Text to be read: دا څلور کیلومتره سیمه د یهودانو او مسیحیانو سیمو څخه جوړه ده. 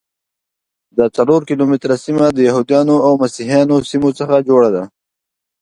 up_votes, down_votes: 2, 0